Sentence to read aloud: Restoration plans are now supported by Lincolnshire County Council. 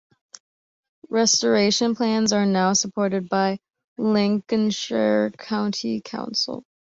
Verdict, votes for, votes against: accepted, 2, 0